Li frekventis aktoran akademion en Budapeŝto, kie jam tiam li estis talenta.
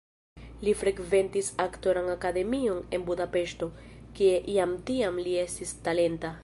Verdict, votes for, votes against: accepted, 2, 0